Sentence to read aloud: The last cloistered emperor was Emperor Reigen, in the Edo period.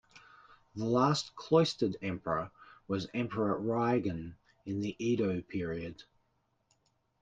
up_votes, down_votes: 2, 0